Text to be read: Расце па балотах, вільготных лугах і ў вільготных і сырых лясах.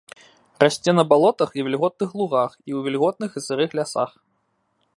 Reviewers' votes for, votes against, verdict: 0, 2, rejected